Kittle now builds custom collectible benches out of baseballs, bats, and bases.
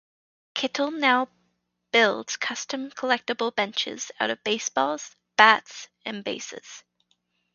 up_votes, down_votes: 0, 2